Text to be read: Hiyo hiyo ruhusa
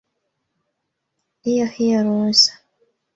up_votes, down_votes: 2, 1